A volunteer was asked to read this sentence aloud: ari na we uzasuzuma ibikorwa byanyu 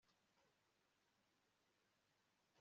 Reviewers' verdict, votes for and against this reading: rejected, 1, 2